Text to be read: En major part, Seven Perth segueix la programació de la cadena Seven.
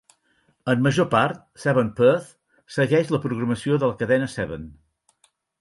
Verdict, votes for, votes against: accepted, 4, 0